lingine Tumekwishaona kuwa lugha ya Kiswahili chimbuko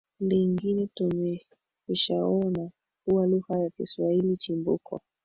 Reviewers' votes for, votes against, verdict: 2, 3, rejected